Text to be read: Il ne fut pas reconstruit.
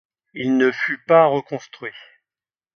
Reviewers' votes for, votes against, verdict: 2, 0, accepted